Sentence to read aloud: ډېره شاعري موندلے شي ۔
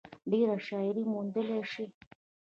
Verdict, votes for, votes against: rejected, 1, 2